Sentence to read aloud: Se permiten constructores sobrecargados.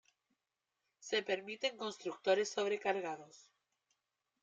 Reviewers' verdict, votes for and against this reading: accepted, 2, 0